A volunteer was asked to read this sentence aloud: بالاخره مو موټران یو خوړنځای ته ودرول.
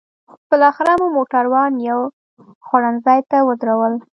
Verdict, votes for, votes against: accepted, 2, 0